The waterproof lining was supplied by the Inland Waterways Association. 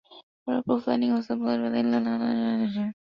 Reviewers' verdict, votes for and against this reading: rejected, 0, 2